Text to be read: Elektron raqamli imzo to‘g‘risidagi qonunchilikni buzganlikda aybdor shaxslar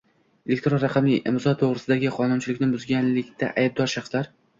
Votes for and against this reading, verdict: 2, 0, accepted